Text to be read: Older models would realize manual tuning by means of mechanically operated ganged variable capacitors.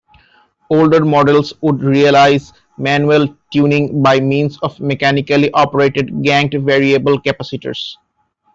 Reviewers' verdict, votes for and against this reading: rejected, 0, 2